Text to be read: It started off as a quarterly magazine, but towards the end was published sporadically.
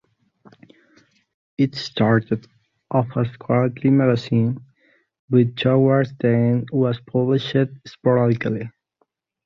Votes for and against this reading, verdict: 1, 2, rejected